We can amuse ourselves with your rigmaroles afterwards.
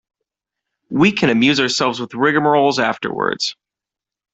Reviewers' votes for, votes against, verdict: 1, 2, rejected